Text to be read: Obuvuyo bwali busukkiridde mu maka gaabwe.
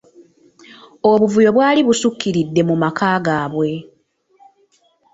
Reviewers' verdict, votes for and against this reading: accepted, 2, 0